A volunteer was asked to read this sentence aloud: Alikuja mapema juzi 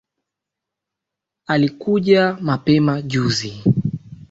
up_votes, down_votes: 3, 0